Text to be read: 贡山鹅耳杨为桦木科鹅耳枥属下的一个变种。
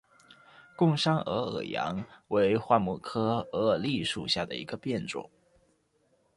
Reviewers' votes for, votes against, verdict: 2, 0, accepted